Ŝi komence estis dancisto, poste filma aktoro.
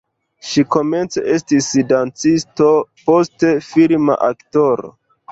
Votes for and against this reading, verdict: 1, 2, rejected